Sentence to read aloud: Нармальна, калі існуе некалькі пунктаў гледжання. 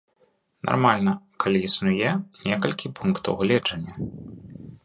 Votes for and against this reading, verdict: 1, 2, rejected